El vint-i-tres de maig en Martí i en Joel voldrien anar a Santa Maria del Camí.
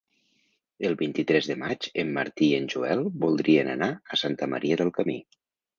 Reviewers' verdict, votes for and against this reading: accepted, 3, 0